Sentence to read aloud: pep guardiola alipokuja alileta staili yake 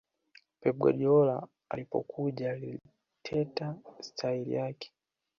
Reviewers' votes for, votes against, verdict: 1, 2, rejected